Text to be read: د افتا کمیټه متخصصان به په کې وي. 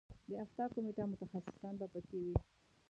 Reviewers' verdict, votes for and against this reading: rejected, 1, 2